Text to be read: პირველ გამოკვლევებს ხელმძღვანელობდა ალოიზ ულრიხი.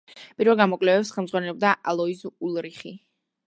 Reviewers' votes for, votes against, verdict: 2, 0, accepted